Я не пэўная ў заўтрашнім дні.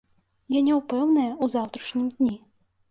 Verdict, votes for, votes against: rejected, 0, 2